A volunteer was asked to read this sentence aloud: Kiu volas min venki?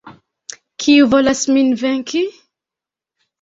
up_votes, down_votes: 2, 0